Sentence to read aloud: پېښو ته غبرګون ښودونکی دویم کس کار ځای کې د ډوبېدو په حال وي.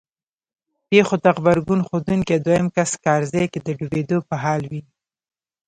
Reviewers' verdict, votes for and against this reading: rejected, 1, 2